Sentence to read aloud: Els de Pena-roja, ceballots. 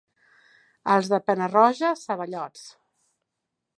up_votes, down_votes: 2, 0